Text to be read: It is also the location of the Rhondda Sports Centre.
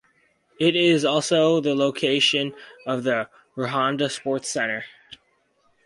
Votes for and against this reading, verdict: 4, 0, accepted